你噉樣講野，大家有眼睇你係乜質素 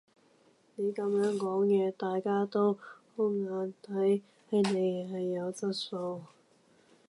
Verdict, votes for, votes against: rejected, 0, 2